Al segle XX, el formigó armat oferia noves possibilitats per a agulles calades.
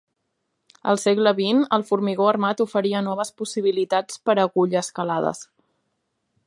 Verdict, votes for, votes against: accepted, 2, 0